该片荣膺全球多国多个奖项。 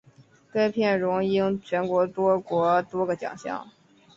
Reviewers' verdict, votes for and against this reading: accepted, 3, 0